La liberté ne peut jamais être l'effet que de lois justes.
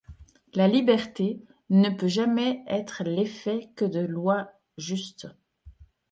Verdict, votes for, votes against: accepted, 2, 0